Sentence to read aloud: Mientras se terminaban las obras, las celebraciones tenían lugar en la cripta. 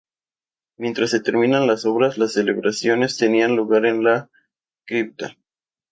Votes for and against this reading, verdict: 0, 2, rejected